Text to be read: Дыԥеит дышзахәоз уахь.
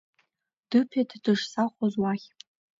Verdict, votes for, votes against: accepted, 2, 0